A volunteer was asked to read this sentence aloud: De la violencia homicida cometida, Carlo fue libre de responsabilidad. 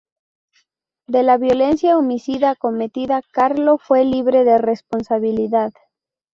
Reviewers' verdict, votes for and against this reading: rejected, 0, 2